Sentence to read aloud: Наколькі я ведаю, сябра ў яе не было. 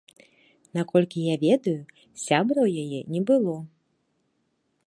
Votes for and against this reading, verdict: 2, 0, accepted